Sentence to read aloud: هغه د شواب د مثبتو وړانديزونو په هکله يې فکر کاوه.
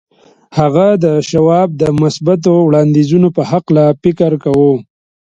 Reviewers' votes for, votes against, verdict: 2, 0, accepted